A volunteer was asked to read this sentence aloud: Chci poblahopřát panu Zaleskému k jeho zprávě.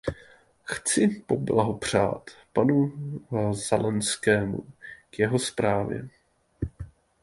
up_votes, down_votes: 0, 2